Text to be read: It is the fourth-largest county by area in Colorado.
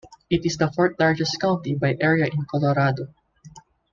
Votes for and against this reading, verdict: 2, 0, accepted